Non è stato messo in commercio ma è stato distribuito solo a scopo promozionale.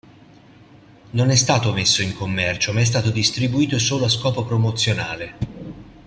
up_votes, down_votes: 2, 0